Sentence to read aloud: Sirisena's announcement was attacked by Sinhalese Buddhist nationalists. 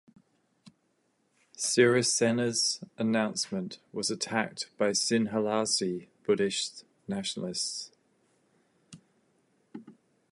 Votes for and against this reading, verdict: 2, 0, accepted